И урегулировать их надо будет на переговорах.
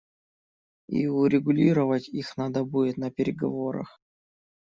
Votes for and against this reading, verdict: 2, 0, accepted